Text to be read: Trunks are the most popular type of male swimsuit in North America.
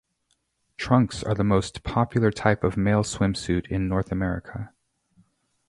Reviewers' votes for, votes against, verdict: 2, 2, rejected